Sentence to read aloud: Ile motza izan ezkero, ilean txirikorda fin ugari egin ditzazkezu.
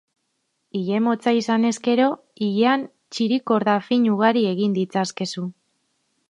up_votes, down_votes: 2, 0